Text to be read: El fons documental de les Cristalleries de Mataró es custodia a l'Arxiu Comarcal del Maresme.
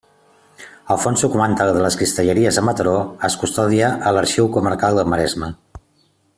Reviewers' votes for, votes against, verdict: 0, 2, rejected